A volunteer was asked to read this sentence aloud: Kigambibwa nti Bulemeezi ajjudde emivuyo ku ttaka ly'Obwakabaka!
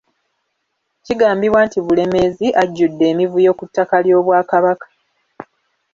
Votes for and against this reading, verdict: 2, 0, accepted